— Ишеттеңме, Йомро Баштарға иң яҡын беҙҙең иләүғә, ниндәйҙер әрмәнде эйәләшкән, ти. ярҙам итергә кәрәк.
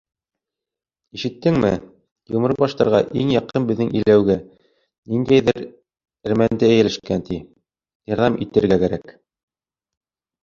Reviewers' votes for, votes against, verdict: 4, 1, accepted